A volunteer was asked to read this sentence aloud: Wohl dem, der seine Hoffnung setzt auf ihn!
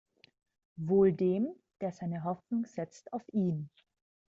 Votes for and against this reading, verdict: 2, 0, accepted